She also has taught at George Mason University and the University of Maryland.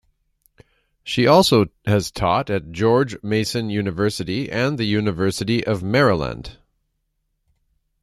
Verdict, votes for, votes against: accepted, 2, 0